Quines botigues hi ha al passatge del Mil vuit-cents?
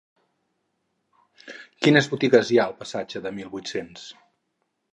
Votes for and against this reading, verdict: 4, 0, accepted